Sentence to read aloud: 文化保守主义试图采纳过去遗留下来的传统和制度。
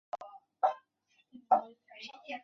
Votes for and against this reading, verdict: 0, 5, rejected